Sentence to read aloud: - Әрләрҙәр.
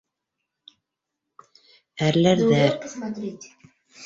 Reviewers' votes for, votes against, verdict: 0, 2, rejected